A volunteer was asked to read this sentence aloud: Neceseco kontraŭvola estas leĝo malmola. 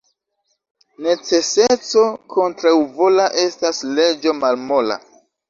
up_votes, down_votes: 0, 2